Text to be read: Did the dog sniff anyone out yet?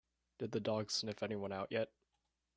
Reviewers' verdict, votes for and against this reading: accepted, 2, 0